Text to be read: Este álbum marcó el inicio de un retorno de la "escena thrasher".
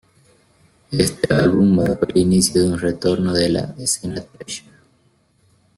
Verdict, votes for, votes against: rejected, 1, 2